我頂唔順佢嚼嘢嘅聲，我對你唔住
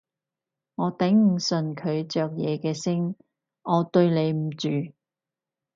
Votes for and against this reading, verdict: 0, 2, rejected